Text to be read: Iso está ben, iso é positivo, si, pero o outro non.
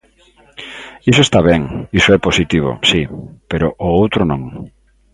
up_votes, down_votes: 2, 0